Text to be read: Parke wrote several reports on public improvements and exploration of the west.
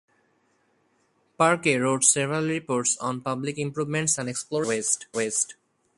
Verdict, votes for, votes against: rejected, 0, 4